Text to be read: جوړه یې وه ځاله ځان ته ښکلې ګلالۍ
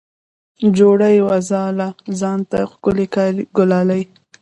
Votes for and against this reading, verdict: 0, 2, rejected